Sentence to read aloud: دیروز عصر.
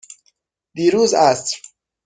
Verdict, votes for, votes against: accepted, 6, 0